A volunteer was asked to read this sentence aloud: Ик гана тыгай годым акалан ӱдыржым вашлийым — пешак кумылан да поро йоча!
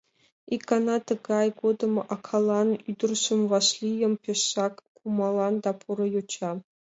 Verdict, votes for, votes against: rejected, 1, 2